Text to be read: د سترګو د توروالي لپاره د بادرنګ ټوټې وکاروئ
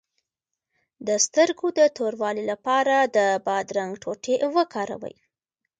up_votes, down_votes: 1, 2